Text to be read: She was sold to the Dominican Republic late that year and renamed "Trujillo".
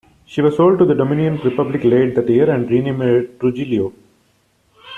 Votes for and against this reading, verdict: 2, 1, accepted